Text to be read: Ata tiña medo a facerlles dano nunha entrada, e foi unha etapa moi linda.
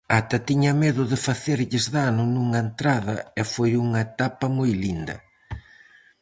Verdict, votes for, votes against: rejected, 0, 4